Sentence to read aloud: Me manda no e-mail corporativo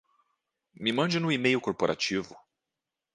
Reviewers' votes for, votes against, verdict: 0, 2, rejected